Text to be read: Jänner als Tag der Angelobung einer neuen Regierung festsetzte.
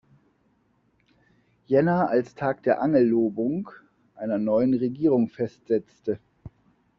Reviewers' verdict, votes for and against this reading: rejected, 0, 2